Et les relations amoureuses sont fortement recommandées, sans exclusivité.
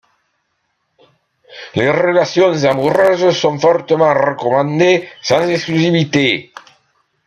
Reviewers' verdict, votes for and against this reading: rejected, 0, 2